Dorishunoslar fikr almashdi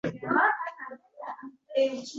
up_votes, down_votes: 0, 2